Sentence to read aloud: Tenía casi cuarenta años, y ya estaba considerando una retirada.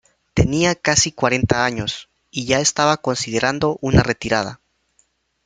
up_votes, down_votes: 2, 0